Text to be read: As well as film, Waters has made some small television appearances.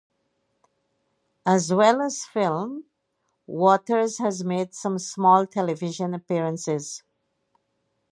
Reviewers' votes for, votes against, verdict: 0, 2, rejected